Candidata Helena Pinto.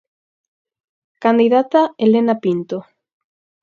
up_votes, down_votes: 4, 0